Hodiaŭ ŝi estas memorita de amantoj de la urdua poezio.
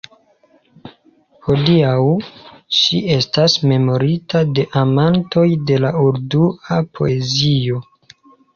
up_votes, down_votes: 2, 0